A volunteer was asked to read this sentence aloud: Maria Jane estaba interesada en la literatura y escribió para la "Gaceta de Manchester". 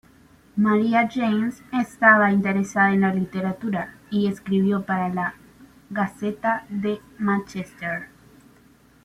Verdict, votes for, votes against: rejected, 1, 2